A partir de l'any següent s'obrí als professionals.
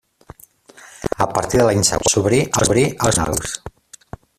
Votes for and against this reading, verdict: 1, 2, rejected